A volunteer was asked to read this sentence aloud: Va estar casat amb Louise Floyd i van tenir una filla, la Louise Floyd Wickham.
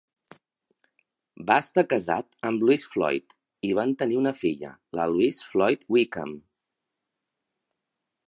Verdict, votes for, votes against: accepted, 3, 0